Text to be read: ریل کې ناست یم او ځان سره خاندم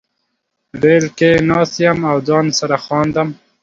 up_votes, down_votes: 2, 0